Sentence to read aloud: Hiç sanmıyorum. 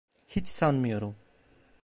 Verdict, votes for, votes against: accepted, 2, 0